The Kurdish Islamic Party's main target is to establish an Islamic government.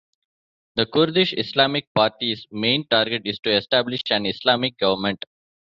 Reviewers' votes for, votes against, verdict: 2, 1, accepted